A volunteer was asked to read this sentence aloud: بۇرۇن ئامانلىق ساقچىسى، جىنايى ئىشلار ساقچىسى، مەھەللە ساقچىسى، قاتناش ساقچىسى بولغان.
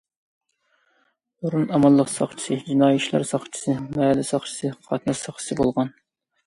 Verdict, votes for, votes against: accepted, 2, 0